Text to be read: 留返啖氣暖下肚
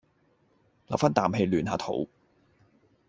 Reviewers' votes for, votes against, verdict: 2, 0, accepted